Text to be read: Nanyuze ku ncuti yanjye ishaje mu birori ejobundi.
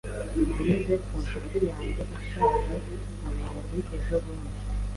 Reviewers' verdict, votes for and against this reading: rejected, 1, 2